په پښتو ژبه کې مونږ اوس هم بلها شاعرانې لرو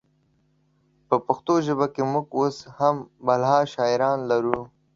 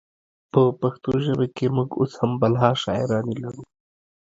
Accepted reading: second